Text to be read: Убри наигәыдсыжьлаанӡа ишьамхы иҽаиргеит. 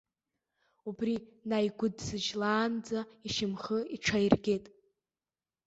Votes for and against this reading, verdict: 0, 2, rejected